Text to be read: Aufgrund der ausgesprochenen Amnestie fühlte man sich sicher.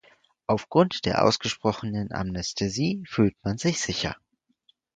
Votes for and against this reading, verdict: 0, 4, rejected